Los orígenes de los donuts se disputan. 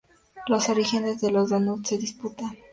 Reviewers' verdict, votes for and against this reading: accepted, 4, 0